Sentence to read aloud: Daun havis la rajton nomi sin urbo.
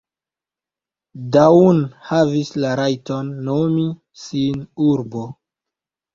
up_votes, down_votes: 0, 2